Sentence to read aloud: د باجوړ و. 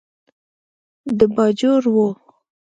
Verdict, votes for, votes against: rejected, 1, 2